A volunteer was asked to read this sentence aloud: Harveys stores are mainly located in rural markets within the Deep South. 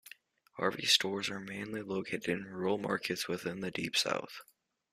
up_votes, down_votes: 2, 0